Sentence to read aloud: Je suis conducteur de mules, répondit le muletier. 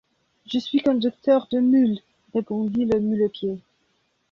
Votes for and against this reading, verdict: 2, 0, accepted